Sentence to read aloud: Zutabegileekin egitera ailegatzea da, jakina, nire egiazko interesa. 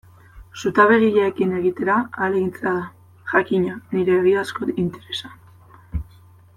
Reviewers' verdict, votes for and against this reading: rejected, 0, 2